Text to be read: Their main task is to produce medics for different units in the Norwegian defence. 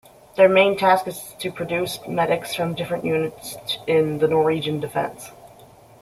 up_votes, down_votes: 2, 0